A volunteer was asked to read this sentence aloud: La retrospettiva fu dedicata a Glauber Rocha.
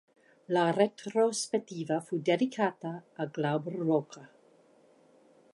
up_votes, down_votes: 2, 0